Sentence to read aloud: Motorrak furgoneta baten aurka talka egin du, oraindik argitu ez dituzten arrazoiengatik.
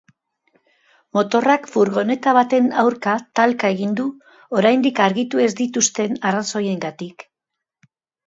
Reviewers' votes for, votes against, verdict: 2, 0, accepted